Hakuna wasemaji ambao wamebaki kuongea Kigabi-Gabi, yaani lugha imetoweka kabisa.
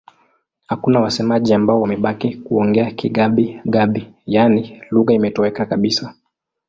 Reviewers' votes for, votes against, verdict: 2, 0, accepted